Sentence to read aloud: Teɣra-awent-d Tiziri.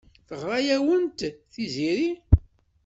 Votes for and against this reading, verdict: 1, 2, rejected